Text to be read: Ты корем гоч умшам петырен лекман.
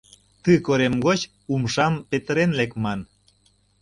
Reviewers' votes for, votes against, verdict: 2, 0, accepted